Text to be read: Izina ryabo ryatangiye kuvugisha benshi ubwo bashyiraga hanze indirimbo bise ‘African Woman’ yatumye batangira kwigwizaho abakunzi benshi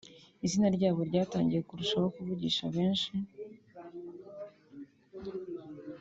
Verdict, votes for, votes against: rejected, 0, 2